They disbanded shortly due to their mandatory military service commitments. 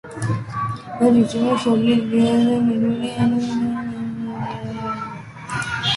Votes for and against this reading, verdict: 0, 2, rejected